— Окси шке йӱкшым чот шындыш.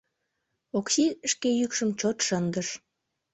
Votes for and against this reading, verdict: 2, 0, accepted